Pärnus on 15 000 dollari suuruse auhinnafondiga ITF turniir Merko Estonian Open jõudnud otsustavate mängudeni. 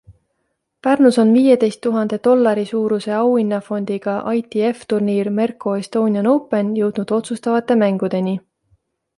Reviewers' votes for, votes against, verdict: 0, 2, rejected